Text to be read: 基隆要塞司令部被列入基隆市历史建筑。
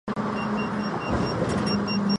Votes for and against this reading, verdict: 0, 2, rejected